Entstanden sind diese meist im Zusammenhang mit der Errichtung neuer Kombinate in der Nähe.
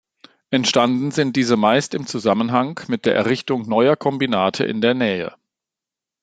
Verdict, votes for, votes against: accepted, 2, 0